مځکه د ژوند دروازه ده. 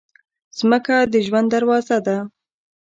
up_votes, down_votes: 1, 3